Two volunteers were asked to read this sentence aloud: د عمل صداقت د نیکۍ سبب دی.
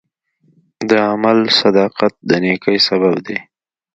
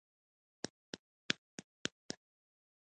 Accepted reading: first